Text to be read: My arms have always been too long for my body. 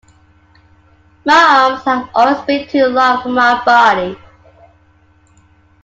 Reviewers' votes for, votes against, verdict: 2, 1, accepted